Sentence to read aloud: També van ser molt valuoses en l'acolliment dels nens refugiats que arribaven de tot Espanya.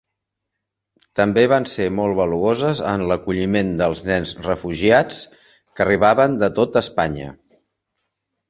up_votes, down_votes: 3, 0